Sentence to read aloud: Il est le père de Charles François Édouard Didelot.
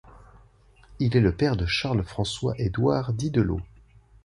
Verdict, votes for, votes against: accepted, 2, 0